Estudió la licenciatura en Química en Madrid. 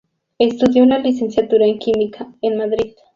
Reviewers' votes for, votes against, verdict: 0, 2, rejected